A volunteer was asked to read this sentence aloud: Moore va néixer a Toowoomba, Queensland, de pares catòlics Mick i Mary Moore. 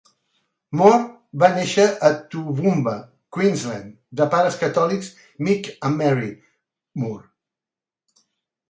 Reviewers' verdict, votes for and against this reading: accepted, 2, 1